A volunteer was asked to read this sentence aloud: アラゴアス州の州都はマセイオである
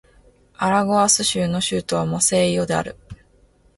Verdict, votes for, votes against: accepted, 4, 0